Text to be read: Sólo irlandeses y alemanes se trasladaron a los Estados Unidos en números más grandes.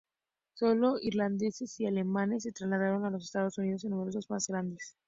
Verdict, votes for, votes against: accepted, 2, 0